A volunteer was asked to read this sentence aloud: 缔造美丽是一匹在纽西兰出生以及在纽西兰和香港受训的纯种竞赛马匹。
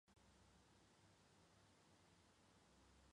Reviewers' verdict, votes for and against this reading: accepted, 2, 0